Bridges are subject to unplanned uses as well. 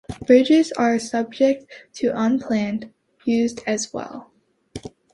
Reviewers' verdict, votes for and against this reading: rejected, 0, 2